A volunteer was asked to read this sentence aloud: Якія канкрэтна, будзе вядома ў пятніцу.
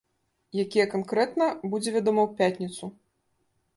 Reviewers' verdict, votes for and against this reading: accepted, 2, 1